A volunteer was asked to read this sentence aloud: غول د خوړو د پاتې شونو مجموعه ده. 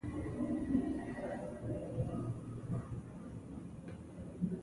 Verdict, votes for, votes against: rejected, 0, 2